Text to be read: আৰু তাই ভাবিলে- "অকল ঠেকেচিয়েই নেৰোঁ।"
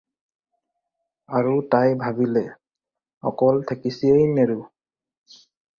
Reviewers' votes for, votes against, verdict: 2, 2, rejected